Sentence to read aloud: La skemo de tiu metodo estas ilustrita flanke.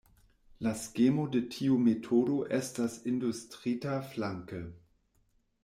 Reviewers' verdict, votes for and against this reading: rejected, 0, 2